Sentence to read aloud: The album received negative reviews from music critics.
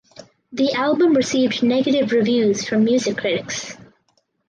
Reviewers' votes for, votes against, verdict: 2, 2, rejected